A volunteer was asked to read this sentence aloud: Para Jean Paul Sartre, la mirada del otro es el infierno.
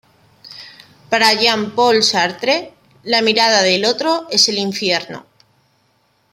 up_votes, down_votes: 3, 0